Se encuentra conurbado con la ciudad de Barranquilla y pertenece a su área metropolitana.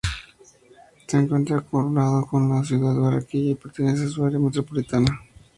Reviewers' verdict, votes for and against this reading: rejected, 0, 2